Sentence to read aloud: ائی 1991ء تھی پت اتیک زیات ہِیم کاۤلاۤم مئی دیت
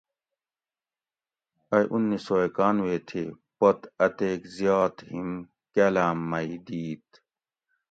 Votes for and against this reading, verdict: 0, 2, rejected